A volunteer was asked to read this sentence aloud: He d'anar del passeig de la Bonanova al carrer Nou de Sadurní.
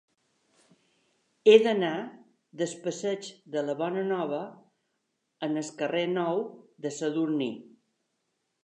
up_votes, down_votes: 2, 3